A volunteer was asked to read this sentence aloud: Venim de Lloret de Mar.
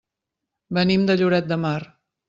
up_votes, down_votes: 3, 0